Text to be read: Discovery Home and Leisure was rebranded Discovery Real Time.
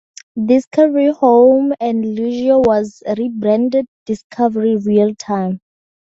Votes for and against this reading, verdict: 4, 0, accepted